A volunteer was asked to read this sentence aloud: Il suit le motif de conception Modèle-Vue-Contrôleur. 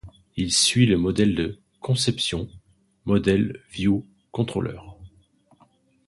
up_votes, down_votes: 0, 2